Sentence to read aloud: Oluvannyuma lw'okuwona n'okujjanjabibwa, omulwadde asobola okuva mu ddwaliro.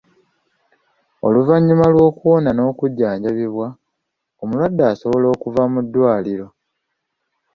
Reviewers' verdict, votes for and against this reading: accepted, 2, 0